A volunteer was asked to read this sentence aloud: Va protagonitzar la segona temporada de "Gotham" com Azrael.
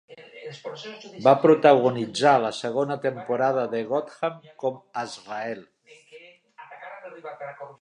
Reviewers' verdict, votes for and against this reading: accepted, 2, 1